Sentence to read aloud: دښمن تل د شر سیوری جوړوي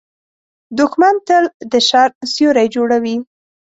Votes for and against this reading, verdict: 2, 0, accepted